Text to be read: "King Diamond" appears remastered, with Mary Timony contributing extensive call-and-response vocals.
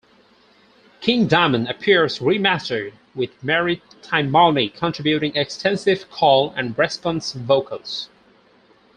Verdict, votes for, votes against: rejected, 2, 2